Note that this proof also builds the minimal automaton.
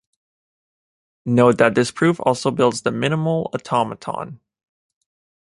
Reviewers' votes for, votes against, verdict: 2, 0, accepted